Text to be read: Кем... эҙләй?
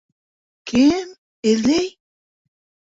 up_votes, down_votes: 0, 2